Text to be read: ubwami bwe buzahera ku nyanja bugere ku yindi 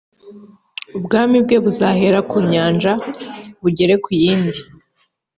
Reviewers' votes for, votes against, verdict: 3, 0, accepted